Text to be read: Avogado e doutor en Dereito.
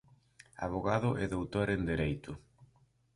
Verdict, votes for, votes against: accepted, 2, 1